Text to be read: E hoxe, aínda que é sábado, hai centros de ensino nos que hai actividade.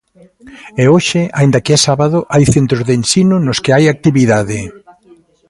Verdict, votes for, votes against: rejected, 1, 2